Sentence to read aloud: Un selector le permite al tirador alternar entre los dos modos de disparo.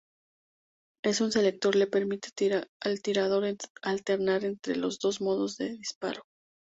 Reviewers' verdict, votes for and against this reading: rejected, 2, 2